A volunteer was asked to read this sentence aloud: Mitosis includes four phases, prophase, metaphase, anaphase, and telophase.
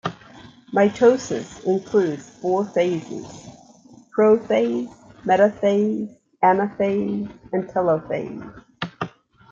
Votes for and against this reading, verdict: 2, 0, accepted